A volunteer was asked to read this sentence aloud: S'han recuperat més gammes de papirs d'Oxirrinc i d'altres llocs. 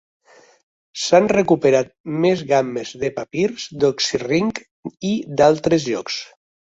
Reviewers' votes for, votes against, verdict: 3, 0, accepted